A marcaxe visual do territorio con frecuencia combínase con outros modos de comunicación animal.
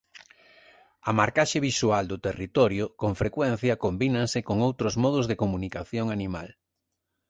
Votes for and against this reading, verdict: 2, 3, rejected